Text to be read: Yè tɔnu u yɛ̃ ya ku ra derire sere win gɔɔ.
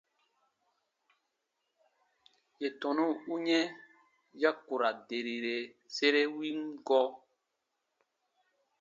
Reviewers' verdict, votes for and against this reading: accepted, 2, 0